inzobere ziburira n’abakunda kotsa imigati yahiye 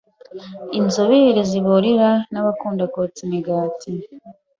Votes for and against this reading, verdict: 0, 2, rejected